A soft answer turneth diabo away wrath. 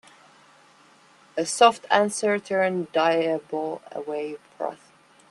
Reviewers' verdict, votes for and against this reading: accepted, 2, 0